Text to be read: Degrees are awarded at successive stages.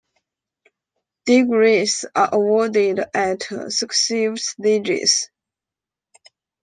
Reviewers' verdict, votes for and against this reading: rejected, 1, 2